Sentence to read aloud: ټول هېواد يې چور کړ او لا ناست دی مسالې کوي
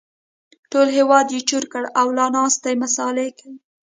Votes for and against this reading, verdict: 1, 2, rejected